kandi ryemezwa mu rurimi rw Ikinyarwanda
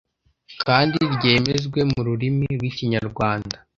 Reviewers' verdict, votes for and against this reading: rejected, 0, 2